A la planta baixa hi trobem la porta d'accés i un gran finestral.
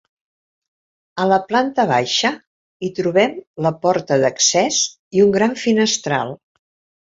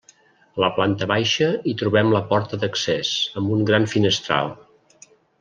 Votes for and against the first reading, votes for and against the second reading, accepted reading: 4, 0, 0, 2, first